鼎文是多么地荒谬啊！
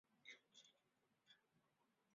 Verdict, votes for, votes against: rejected, 0, 2